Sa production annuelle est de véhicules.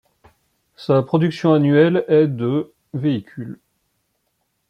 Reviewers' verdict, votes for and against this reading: accepted, 2, 1